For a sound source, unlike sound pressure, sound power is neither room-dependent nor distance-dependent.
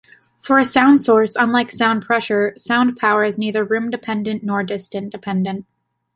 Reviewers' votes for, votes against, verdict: 2, 0, accepted